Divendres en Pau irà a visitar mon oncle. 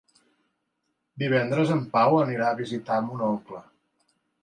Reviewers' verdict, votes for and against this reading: rejected, 1, 2